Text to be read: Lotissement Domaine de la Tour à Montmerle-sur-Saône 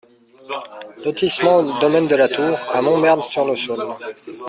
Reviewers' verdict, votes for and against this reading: rejected, 0, 2